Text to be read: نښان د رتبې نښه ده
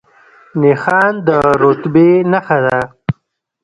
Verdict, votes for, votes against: accepted, 2, 0